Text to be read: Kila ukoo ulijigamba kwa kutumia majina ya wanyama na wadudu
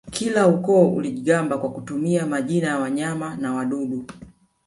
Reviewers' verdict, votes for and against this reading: rejected, 1, 2